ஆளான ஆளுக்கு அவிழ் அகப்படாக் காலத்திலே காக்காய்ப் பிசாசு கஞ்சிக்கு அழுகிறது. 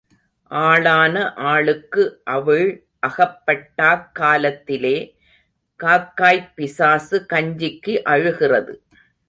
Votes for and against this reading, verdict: 0, 2, rejected